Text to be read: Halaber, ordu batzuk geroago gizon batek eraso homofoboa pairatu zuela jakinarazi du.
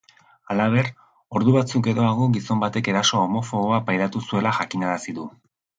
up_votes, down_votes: 2, 0